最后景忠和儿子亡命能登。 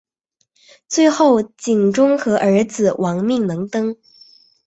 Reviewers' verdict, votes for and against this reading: accepted, 5, 0